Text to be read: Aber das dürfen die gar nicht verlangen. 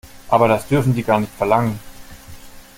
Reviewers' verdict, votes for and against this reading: accepted, 2, 0